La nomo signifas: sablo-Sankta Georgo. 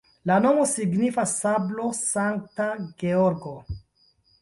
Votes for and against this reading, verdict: 2, 0, accepted